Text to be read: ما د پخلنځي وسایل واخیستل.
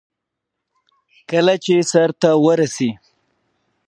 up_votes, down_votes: 2, 0